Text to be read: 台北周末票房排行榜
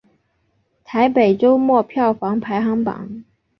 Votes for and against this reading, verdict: 2, 0, accepted